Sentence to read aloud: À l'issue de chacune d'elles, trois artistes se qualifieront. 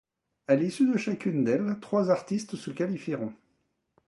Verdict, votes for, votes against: accepted, 2, 0